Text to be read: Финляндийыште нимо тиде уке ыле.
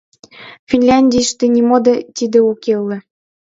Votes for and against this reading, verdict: 2, 0, accepted